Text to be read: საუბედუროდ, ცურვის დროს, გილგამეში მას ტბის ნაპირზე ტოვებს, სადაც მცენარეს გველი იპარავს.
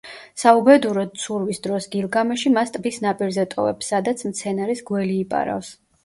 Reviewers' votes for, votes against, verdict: 2, 1, accepted